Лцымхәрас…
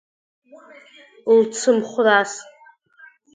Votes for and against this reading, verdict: 2, 1, accepted